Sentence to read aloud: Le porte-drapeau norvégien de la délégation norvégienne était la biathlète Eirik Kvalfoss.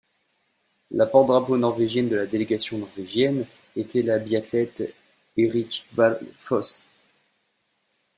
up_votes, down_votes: 1, 2